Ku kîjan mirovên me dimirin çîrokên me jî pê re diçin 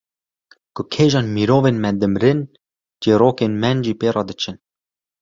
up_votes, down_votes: 1, 2